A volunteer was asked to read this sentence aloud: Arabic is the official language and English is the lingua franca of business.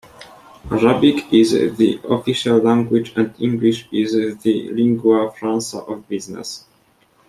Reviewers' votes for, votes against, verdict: 1, 2, rejected